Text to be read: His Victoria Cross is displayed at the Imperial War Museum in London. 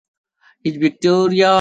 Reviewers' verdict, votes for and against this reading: rejected, 1, 3